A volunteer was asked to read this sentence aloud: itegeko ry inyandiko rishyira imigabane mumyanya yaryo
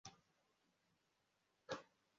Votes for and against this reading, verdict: 0, 2, rejected